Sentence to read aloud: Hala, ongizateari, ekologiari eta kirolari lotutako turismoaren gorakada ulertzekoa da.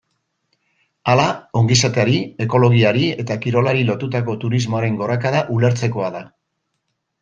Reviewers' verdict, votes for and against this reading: accepted, 2, 0